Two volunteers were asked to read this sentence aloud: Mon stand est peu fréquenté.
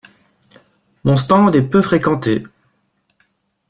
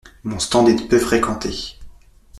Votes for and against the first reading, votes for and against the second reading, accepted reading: 2, 0, 0, 2, first